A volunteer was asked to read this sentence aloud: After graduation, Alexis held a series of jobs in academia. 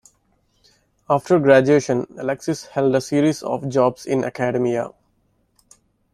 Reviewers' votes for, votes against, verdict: 0, 2, rejected